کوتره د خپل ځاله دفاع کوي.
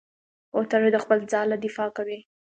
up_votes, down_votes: 2, 0